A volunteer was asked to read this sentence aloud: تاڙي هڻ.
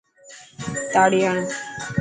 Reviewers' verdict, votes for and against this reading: accepted, 3, 0